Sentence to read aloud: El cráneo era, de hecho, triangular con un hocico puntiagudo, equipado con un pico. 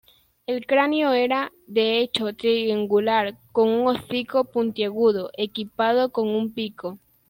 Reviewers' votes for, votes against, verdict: 0, 2, rejected